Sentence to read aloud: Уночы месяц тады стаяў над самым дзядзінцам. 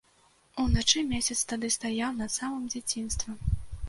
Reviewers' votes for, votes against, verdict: 0, 2, rejected